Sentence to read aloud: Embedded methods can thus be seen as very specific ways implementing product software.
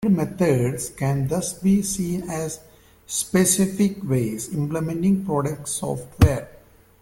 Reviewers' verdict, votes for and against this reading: accepted, 2, 1